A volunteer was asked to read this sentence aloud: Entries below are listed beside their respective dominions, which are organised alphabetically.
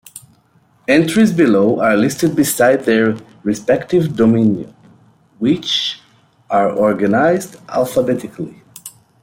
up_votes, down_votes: 2, 0